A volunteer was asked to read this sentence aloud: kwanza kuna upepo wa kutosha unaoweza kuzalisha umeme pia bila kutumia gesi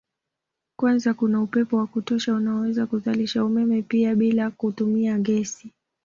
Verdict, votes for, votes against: accepted, 2, 0